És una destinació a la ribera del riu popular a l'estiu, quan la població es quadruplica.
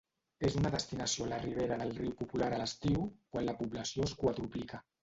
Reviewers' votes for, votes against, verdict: 1, 2, rejected